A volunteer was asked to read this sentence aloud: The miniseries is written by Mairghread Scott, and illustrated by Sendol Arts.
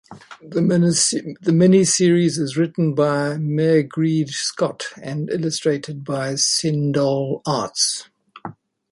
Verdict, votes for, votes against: rejected, 1, 2